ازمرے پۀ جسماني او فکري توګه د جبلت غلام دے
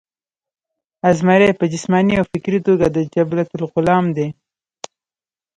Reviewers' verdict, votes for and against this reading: accepted, 2, 1